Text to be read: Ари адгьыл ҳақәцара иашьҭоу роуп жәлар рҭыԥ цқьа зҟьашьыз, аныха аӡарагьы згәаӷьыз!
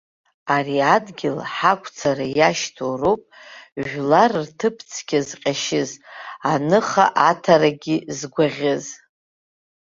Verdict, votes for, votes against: rejected, 1, 2